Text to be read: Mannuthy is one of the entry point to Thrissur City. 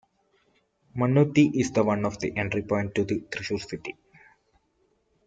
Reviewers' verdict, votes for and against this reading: rejected, 0, 2